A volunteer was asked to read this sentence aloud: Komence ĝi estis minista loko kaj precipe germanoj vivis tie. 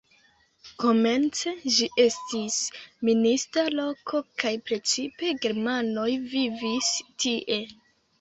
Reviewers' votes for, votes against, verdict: 2, 0, accepted